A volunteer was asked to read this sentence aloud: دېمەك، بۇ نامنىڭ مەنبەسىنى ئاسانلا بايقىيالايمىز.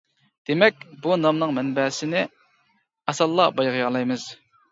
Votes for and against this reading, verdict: 0, 2, rejected